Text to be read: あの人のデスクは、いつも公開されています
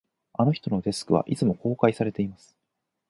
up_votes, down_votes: 4, 0